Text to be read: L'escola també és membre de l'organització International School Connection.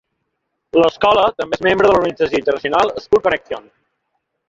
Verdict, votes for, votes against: rejected, 2, 3